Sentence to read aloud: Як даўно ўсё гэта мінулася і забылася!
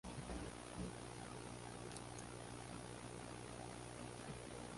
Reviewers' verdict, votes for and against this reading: rejected, 0, 2